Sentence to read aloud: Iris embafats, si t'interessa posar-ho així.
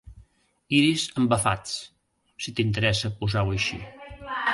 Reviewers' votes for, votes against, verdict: 0, 2, rejected